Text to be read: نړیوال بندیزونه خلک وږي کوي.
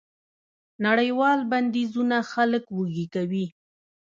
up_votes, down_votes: 1, 2